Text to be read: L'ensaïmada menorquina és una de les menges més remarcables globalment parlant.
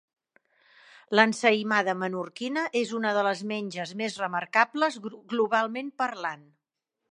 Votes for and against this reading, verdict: 2, 3, rejected